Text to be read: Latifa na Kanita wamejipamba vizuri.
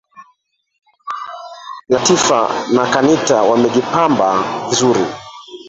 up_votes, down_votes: 1, 3